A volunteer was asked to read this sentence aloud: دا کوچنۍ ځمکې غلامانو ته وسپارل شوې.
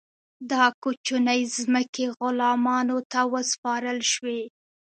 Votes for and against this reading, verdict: 2, 0, accepted